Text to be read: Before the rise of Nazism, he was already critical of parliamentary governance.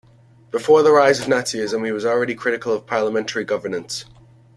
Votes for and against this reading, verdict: 2, 0, accepted